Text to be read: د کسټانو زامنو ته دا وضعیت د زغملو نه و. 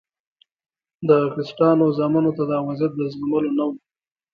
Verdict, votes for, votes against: accepted, 2, 0